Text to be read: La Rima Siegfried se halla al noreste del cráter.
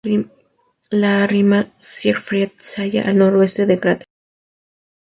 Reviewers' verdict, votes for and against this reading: rejected, 0, 2